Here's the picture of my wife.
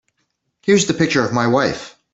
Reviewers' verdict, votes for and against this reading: accepted, 2, 0